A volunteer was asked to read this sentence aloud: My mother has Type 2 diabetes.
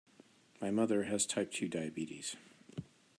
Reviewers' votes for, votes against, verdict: 0, 2, rejected